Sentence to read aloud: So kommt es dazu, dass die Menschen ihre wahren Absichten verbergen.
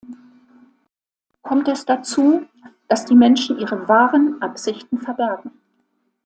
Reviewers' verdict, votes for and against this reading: rejected, 0, 2